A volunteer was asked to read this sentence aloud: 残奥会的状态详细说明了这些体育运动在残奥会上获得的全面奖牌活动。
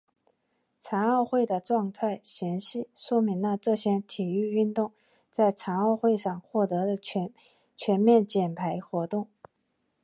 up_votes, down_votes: 2, 1